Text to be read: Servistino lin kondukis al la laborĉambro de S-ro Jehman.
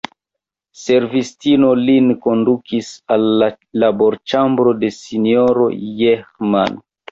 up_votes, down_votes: 1, 2